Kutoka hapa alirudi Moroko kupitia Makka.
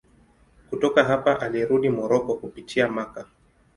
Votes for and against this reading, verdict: 2, 0, accepted